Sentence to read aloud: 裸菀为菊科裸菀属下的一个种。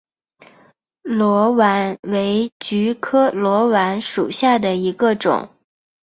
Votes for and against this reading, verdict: 3, 0, accepted